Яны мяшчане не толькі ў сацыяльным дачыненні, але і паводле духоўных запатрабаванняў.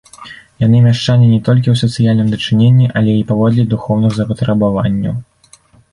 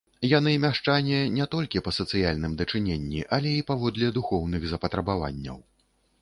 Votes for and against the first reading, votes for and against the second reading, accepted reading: 2, 0, 0, 2, first